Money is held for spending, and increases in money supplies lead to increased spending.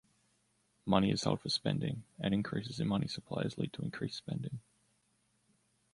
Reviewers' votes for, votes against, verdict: 2, 1, accepted